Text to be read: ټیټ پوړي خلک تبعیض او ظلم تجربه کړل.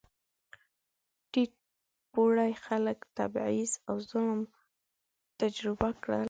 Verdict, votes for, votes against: rejected, 0, 2